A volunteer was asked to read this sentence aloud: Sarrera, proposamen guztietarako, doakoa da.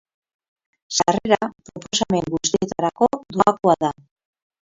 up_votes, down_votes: 2, 2